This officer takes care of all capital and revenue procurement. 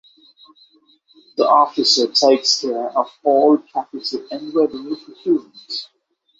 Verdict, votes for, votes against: rejected, 0, 3